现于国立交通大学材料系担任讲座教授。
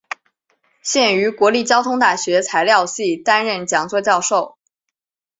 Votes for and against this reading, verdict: 2, 0, accepted